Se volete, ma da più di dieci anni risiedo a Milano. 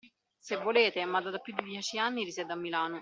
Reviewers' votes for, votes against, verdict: 1, 2, rejected